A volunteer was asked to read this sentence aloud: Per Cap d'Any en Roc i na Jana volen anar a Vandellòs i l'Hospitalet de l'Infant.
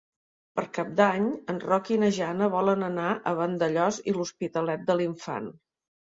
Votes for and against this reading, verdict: 2, 0, accepted